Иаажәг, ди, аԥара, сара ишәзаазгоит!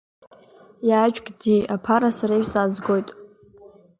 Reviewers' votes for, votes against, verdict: 2, 0, accepted